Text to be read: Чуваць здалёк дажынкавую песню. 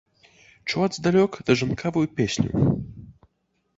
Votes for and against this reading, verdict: 3, 0, accepted